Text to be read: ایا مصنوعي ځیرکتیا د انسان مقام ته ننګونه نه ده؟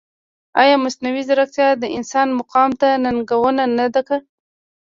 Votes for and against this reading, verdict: 0, 2, rejected